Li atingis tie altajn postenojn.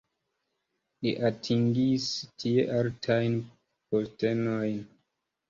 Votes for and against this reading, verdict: 2, 0, accepted